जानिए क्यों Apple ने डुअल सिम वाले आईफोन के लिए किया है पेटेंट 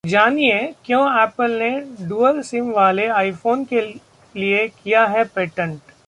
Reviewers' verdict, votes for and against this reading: accepted, 2, 0